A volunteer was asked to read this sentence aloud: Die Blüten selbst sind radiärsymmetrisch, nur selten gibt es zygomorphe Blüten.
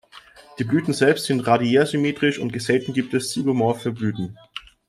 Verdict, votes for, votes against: rejected, 0, 2